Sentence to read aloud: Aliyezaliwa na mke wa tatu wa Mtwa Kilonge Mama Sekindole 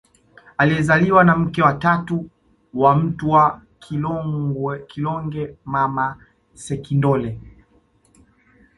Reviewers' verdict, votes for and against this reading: rejected, 0, 2